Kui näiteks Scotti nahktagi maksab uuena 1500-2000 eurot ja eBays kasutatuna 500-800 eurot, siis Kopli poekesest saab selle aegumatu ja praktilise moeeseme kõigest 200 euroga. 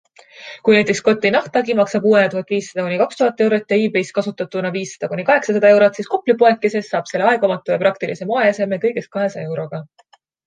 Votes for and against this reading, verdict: 0, 2, rejected